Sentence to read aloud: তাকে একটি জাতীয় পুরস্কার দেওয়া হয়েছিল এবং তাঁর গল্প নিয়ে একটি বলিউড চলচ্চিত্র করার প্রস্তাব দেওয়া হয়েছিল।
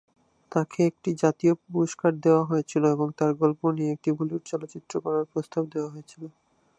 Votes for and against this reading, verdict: 2, 0, accepted